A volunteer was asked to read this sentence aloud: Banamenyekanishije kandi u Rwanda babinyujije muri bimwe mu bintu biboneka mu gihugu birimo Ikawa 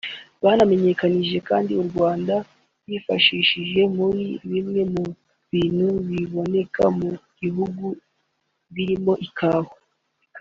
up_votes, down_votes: 0, 2